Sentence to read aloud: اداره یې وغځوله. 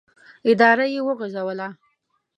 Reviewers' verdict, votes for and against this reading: accepted, 2, 0